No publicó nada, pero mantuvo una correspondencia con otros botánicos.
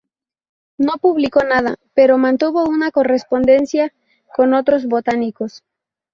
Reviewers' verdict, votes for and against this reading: rejected, 2, 2